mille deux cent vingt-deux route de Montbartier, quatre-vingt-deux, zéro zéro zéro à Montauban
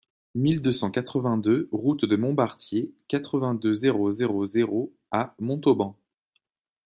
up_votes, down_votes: 1, 2